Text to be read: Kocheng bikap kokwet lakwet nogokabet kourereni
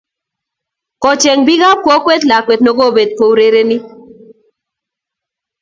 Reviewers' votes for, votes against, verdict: 2, 0, accepted